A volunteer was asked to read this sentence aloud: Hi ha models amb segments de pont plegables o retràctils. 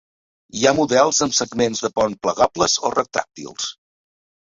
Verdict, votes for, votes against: accepted, 2, 0